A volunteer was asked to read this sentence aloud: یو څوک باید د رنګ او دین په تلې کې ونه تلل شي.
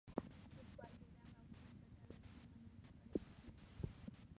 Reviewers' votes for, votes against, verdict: 1, 2, rejected